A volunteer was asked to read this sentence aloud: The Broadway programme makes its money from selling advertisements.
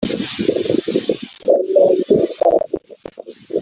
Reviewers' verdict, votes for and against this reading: rejected, 0, 2